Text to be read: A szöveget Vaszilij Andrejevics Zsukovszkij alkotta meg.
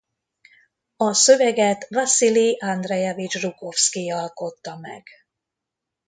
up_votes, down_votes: 2, 0